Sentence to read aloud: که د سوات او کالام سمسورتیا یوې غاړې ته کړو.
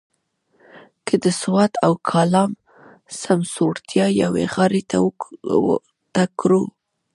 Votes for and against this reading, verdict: 2, 0, accepted